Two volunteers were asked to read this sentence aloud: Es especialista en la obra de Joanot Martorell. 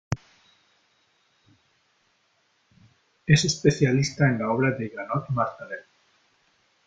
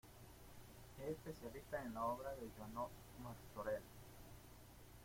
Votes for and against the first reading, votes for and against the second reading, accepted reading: 3, 0, 0, 2, first